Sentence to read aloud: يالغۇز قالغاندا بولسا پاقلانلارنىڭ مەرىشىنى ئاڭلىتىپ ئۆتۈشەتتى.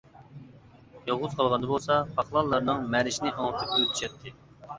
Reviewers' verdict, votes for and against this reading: accepted, 2, 1